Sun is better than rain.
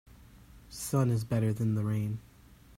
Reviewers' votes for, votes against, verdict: 0, 2, rejected